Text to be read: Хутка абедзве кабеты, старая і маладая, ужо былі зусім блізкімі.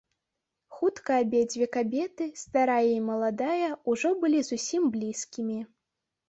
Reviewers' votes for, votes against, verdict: 3, 0, accepted